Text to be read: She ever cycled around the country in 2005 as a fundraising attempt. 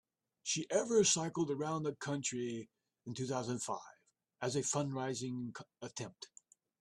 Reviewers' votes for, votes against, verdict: 0, 2, rejected